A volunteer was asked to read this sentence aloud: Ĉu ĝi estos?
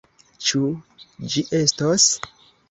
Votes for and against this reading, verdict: 2, 0, accepted